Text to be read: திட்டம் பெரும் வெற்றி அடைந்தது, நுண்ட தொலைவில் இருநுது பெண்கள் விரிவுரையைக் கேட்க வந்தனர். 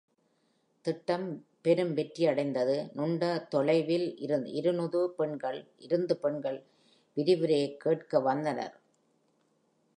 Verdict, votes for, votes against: rejected, 0, 2